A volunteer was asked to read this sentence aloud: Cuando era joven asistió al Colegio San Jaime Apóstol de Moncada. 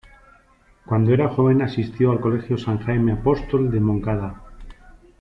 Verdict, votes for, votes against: accepted, 2, 0